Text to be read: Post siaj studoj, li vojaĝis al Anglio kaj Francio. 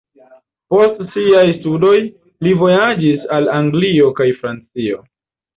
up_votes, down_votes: 2, 0